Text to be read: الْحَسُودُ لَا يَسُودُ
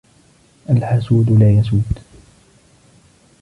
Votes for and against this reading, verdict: 2, 1, accepted